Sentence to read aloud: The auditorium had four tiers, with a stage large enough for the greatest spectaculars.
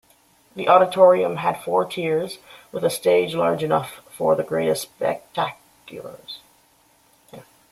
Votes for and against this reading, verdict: 2, 1, accepted